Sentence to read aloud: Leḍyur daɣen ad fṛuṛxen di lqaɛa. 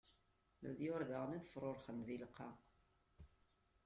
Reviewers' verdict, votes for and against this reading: rejected, 1, 2